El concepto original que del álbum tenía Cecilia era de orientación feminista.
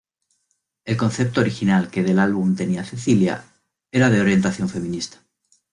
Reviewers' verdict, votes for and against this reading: accepted, 2, 0